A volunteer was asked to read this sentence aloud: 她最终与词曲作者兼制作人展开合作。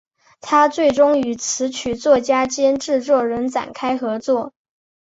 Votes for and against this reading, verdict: 1, 2, rejected